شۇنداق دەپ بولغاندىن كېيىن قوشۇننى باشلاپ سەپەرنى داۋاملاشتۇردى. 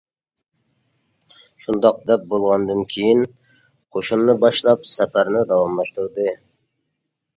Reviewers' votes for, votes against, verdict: 2, 0, accepted